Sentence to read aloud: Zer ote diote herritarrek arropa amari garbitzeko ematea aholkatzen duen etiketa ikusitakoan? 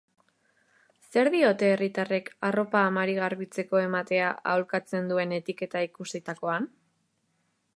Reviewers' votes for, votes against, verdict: 2, 3, rejected